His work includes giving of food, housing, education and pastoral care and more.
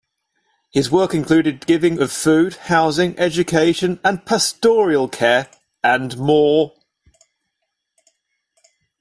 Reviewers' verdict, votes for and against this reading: rejected, 1, 2